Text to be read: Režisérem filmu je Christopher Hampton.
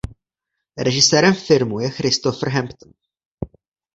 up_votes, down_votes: 0, 2